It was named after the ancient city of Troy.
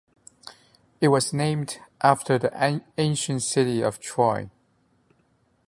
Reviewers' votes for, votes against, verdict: 0, 2, rejected